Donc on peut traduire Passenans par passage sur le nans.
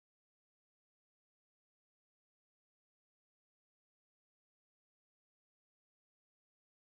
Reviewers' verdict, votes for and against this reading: rejected, 0, 2